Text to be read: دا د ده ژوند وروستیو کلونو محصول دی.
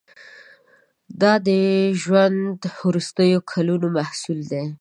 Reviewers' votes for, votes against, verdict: 1, 2, rejected